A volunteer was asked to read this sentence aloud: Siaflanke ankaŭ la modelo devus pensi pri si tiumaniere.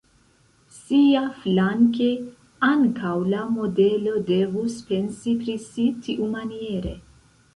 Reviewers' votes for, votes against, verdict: 2, 0, accepted